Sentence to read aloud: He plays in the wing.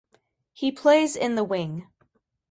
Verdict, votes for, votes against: accepted, 2, 0